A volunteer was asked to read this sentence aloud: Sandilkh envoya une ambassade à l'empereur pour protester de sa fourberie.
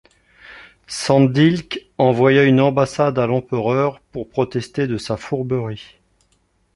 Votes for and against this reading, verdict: 2, 0, accepted